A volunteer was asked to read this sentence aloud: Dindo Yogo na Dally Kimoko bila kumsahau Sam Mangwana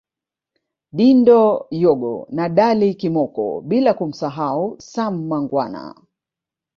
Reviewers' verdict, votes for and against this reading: rejected, 1, 2